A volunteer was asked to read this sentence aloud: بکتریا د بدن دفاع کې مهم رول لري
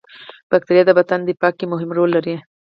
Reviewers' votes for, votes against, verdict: 4, 0, accepted